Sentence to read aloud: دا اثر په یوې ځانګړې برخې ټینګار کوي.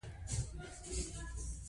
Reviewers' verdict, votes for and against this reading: rejected, 0, 2